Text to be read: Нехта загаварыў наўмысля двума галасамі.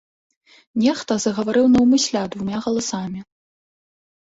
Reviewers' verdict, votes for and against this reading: accepted, 2, 0